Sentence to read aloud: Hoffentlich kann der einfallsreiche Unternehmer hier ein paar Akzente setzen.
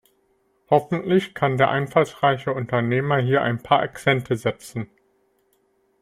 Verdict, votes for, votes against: rejected, 1, 2